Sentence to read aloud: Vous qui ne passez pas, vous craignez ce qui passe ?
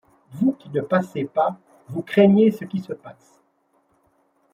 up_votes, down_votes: 1, 2